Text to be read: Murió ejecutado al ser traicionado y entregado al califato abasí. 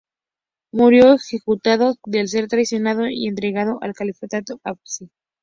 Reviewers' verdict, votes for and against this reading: rejected, 2, 8